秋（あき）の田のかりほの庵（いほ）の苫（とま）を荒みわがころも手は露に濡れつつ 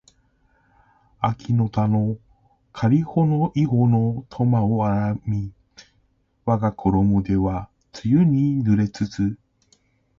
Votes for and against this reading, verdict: 3, 1, accepted